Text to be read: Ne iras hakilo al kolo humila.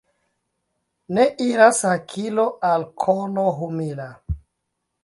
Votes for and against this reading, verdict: 2, 1, accepted